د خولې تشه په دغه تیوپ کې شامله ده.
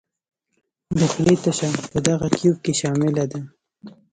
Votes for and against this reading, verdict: 2, 1, accepted